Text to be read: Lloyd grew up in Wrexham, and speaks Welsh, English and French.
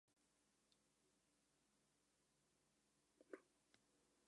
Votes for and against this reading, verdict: 0, 2, rejected